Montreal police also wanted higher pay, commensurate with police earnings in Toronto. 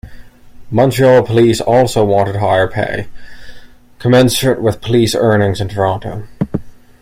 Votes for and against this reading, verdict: 2, 0, accepted